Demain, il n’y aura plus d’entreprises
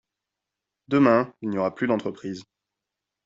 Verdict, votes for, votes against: accepted, 2, 0